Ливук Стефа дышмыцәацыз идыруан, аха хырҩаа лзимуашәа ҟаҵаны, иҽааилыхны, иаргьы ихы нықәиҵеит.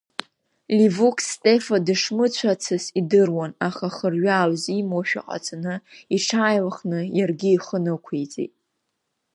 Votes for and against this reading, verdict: 2, 0, accepted